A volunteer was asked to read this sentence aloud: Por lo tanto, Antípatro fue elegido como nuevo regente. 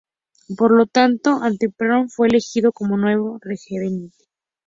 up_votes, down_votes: 0, 2